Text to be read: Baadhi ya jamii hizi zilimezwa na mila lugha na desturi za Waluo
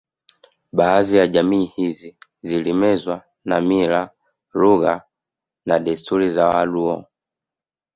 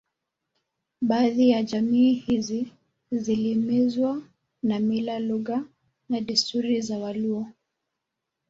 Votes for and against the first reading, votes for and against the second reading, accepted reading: 2, 0, 0, 2, first